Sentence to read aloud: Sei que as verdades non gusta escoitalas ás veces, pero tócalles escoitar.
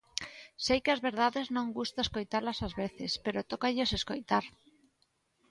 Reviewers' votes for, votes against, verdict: 2, 0, accepted